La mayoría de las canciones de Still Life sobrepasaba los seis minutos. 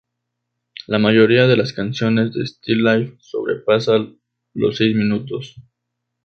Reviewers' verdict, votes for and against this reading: rejected, 2, 2